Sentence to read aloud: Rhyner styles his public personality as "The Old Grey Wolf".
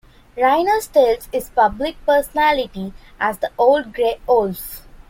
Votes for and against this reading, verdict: 2, 0, accepted